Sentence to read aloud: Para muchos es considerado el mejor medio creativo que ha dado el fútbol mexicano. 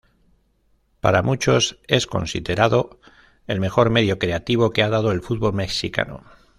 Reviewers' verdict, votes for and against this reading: rejected, 0, 2